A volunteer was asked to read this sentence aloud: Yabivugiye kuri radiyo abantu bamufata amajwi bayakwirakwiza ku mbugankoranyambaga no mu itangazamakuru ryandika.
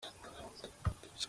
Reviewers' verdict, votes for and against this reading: rejected, 0, 2